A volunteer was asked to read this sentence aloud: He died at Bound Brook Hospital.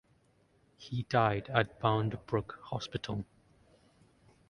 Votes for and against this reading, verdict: 2, 0, accepted